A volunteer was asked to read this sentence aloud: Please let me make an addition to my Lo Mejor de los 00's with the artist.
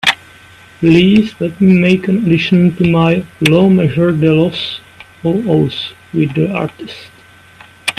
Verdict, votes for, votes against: rejected, 0, 2